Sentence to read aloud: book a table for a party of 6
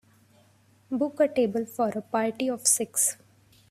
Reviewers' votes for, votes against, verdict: 0, 2, rejected